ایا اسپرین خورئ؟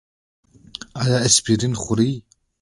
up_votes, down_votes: 2, 0